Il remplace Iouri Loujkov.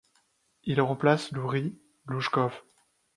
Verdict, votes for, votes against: rejected, 0, 2